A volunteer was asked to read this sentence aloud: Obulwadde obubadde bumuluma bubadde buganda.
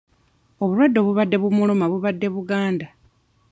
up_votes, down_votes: 2, 0